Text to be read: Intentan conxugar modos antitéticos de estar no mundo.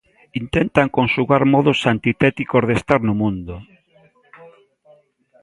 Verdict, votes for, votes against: rejected, 1, 2